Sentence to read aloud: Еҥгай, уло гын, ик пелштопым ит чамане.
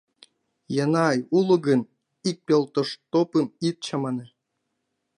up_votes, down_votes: 2, 0